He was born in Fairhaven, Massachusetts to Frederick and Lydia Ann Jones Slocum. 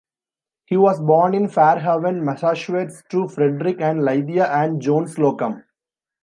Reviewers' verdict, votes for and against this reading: rejected, 1, 2